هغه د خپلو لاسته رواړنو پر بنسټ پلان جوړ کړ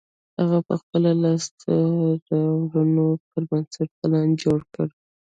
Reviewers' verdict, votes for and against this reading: rejected, 1, 2